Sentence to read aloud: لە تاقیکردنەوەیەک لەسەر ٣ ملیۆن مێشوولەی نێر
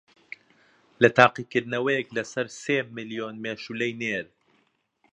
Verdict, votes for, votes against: rejected, 0, 2